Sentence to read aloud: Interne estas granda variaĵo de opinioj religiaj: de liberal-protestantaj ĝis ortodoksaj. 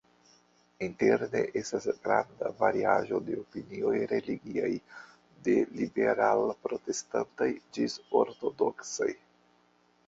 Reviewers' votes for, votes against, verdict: 2, 0, accepted